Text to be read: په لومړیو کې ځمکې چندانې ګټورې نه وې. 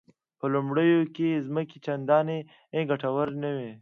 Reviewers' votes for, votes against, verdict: 2, 1, accepted